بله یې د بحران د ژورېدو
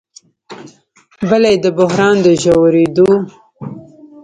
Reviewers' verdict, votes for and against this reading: rejected, 1, 2